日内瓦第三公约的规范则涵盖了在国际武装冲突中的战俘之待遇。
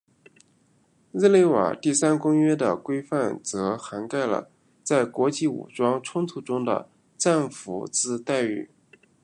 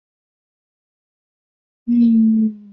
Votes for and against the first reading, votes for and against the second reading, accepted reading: 2, 1, 0, 2, first